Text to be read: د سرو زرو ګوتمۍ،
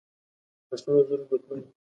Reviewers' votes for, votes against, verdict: 1, 2, rejected